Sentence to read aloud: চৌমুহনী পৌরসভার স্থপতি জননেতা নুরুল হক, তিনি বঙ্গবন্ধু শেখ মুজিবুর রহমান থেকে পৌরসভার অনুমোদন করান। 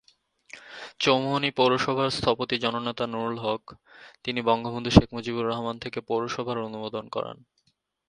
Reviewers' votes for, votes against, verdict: 3, 0, accepted